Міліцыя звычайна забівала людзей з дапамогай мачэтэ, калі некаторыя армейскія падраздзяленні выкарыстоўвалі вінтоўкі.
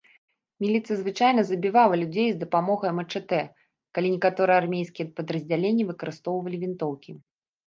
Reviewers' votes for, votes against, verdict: 0, 2, rejected